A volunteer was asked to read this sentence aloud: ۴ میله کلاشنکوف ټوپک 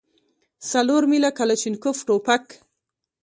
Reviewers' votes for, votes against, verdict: 0, 2, rejected